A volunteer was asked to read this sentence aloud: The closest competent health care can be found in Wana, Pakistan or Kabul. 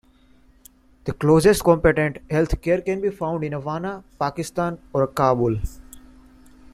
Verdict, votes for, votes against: accepted, 2, 1